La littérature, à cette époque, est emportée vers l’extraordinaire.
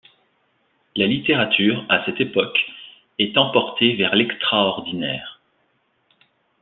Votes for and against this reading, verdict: 2, 0, accepted